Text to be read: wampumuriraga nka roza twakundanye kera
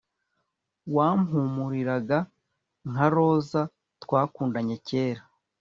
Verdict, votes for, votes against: accepted, 2, 0